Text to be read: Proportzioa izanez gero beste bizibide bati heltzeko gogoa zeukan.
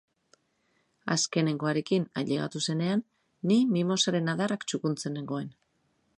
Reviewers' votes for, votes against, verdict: 0, 2, rejected